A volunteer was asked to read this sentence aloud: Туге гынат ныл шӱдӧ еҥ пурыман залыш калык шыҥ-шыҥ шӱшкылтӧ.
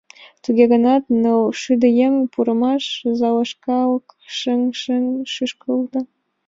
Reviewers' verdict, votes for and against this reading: rejected, 1, 2